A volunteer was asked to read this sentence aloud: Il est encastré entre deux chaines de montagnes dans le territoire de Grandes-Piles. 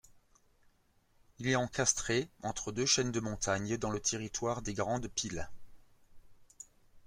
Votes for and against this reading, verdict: 0, 2, rejected